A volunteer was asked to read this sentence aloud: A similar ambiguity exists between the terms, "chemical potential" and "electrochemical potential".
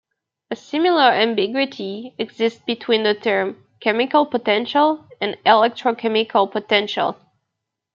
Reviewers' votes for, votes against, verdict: 2, 1, accepted